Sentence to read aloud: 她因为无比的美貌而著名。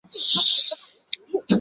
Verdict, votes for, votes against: rejected, 1, 4